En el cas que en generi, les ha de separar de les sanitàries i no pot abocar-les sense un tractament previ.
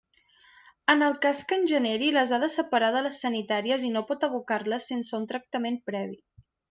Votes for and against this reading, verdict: 2, 0, accepted